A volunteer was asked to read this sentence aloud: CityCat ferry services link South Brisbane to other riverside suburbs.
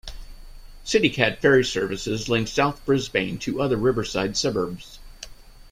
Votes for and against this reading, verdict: 2, 0, accepted